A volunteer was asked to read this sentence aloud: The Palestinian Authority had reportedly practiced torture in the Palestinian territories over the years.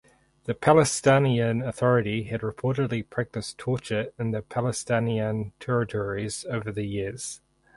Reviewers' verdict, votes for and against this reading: accepted, 4, 2